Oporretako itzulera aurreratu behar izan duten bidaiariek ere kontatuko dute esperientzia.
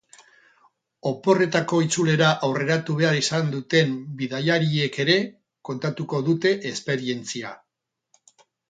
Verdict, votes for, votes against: rejected, 0, 2